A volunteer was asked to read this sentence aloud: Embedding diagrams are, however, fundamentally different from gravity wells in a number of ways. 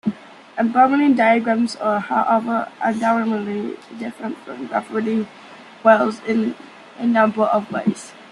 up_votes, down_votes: 0, 2